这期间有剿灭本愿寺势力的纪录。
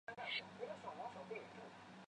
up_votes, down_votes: 0, 2